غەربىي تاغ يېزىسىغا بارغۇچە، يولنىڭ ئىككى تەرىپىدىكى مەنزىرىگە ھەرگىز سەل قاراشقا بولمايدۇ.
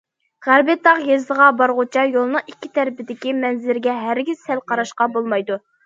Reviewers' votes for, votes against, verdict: 2, 0, accepted